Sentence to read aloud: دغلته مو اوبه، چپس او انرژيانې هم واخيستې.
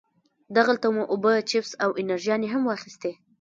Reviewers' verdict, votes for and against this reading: rejected, 1, 2